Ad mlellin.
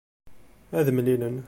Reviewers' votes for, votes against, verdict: 2, 1, accepted